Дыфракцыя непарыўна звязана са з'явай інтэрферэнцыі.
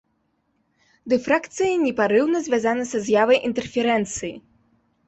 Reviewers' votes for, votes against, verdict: 2, 1, accepted